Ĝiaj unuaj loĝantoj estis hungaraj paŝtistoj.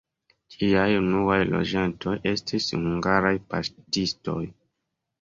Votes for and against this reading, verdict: 2, 1, accepted